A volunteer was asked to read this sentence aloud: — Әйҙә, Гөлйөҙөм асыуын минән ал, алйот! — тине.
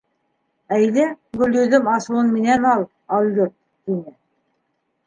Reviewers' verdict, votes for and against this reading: accepted, 2, 0